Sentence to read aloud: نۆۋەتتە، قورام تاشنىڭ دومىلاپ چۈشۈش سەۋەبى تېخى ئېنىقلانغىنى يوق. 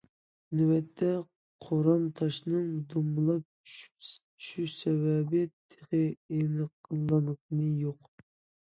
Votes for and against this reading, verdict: 0, 2, rejected